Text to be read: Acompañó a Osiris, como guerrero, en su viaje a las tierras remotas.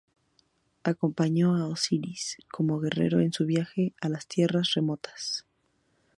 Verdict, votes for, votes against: accepted, 2, 0